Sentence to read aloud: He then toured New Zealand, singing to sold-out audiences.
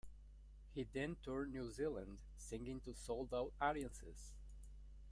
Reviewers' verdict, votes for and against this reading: rejected, 1, 2